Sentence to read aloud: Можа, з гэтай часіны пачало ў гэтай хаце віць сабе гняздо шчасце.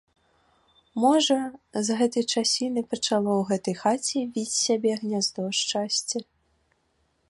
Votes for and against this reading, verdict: 1, 2, rejected